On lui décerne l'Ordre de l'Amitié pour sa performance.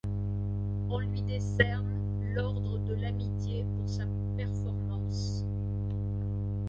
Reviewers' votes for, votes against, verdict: 2, 0, accepted